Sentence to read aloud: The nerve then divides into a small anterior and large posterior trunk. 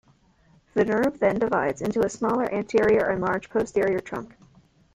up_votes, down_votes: 1, 2